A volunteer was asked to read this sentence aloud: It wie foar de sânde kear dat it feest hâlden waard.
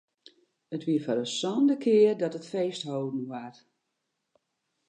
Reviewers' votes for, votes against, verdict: 2, 0, accepted